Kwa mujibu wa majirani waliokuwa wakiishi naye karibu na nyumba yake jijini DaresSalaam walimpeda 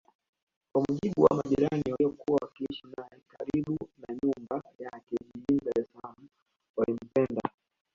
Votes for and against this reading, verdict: 0, 2, rejected